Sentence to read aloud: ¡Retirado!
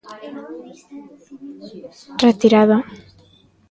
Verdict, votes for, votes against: rejected, 1, 2